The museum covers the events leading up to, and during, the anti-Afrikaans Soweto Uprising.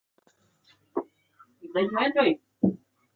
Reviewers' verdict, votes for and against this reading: rejected, 0, 2